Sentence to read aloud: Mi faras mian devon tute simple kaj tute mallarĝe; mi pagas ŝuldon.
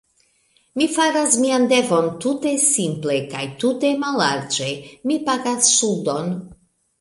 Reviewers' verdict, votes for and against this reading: accepted, 2, 0